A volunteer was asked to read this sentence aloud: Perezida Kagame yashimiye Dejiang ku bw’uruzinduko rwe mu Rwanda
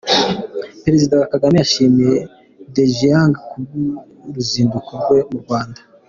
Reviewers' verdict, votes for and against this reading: accepted, 2, 0